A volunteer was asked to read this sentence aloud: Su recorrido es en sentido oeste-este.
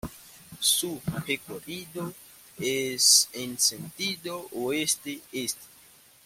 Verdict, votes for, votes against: accepted, 2, 0